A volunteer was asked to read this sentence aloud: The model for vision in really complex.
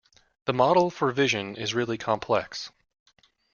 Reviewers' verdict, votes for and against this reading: accepted, 2, 0